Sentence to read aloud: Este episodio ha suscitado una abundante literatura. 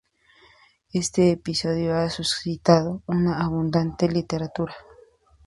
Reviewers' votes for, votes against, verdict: 2, 0, accepted